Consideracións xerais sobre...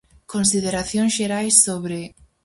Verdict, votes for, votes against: accepted, 4, 0